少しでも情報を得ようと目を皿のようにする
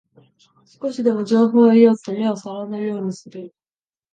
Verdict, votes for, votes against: accepted, 2, 1